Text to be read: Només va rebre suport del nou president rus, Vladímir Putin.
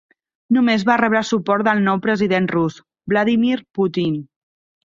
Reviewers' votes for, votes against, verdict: 4, 0, accepted